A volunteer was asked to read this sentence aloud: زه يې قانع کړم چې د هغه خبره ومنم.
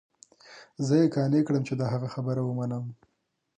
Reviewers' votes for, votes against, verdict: 2, 0, accepted